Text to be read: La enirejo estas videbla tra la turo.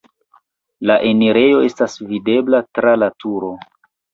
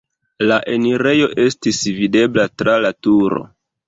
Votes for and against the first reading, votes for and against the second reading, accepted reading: 2, 0, 1, 2, first